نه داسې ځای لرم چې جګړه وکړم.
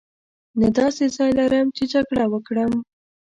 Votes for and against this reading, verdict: 2, 0, accepted